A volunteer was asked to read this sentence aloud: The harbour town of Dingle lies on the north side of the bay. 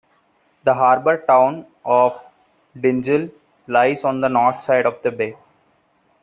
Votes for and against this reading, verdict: 1, 2, rejected